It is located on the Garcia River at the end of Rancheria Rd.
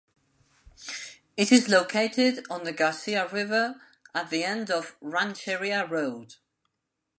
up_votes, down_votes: 2, 1